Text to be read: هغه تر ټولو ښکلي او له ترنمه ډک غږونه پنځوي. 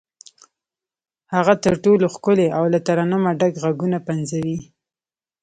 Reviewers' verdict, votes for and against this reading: accepted, 3, 1